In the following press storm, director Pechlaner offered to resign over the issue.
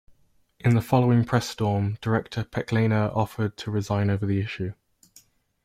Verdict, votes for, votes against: accepted, 2, 0